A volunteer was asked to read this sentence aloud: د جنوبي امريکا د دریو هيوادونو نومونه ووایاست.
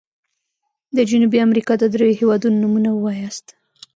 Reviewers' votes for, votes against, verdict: 1, 2, rejected